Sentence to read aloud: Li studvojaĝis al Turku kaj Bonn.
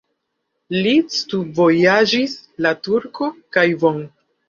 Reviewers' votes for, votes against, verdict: 0, 2, rejected